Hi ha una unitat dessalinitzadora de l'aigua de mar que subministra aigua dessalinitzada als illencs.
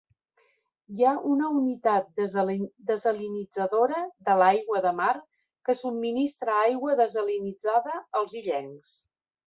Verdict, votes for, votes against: rejected, 1, 3